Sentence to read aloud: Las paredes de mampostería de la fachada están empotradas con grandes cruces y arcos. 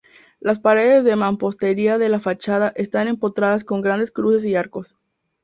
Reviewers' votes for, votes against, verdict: 2, 0, accepted